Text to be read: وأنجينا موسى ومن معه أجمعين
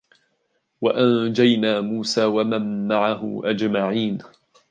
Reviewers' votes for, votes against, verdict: 2, 0, accepted